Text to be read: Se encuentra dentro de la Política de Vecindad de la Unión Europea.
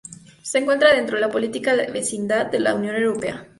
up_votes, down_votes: 0, 2